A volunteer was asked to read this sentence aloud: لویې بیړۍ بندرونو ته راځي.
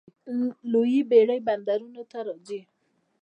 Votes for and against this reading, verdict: 0, 2, rejected